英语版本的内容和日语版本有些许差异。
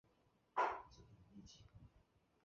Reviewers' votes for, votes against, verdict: 0, 3, rejected